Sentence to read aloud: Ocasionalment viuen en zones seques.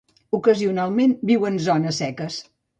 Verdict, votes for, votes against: rejected, 1, 2